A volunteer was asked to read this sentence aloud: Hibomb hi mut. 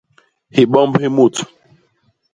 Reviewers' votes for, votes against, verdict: 2, 0, accepted